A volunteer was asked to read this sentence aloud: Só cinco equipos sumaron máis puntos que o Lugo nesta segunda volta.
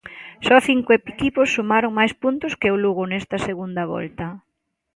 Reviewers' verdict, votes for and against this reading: accepted, 2, 0